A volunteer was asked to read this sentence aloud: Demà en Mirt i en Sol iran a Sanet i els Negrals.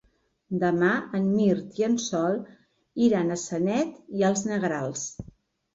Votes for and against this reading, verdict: 2, 0, accepted